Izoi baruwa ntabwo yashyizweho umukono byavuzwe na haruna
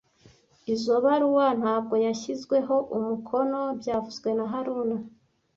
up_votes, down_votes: 1, 2